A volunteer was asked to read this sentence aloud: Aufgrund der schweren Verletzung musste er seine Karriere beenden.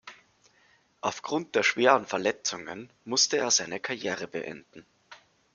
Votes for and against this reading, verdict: 0, 2, rejected